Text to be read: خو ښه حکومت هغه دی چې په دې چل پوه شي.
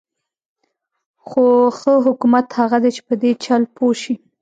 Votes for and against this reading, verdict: 0, 2, rejected